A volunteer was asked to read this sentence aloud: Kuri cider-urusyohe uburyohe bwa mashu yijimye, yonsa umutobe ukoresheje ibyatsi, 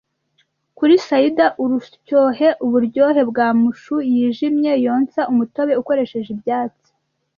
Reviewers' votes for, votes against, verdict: 2, 0, accepted